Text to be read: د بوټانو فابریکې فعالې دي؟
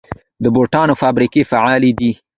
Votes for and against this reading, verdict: 2, 0, accepted